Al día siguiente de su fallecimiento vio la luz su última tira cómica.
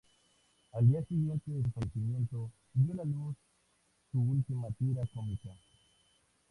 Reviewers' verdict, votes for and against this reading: accepted, 2, 0